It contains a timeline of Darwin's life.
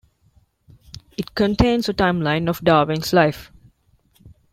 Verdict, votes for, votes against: accepted, 2, 0